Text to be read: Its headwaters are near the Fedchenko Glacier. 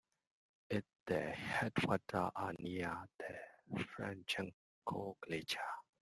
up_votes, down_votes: 0, 2